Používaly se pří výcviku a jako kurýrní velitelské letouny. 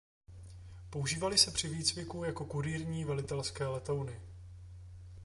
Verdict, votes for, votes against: rejected, 1, 2